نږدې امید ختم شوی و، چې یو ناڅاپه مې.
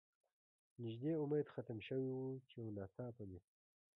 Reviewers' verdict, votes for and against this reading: accepted, 2, 0